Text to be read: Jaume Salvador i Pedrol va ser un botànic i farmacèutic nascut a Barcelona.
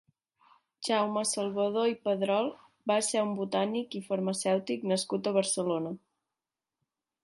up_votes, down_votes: 3, 0